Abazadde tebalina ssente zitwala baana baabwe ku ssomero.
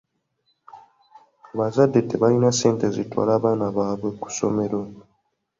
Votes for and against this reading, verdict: 2, 0, accepted